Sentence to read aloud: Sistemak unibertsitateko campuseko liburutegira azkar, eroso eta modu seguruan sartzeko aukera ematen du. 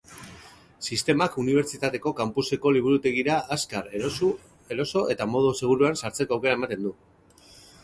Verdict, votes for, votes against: rejected, 0, 2